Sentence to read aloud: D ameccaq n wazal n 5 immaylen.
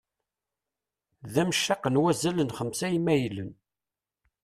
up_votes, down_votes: 0, 2